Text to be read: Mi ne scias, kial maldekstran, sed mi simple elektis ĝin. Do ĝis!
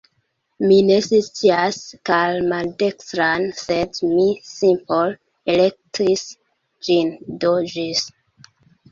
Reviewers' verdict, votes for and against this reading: rejected, 0, 2